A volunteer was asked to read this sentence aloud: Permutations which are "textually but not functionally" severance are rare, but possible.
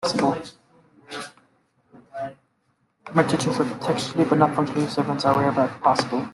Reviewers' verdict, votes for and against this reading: rejected, 1, 2